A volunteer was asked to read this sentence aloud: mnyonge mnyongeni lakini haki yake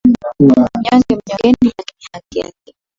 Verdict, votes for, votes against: rejected, 10, 23